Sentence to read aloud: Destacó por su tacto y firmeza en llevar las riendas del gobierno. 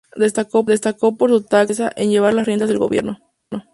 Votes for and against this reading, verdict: 0, 2, rejected